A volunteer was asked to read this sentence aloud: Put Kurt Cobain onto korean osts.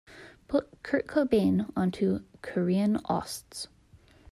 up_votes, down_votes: 3, 0